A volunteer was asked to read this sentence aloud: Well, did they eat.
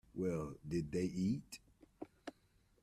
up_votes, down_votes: 2, 0